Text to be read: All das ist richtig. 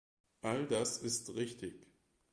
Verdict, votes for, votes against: accepted, 2, 0